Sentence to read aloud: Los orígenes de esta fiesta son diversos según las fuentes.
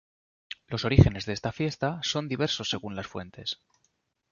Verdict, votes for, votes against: accepted, 2, 0